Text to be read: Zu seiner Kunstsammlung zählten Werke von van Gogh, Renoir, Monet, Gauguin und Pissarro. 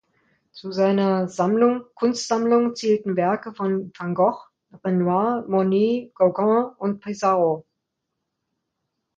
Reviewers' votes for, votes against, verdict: 1, 2, rejected